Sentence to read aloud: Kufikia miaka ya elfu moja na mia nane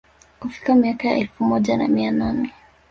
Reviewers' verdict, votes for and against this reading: accepted, 3, 0